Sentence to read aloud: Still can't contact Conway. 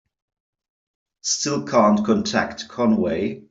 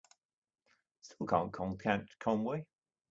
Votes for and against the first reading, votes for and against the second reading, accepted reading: 3, 0, 1, 2, first